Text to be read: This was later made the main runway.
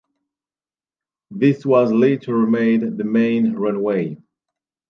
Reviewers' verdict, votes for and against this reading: accepted, 2, 0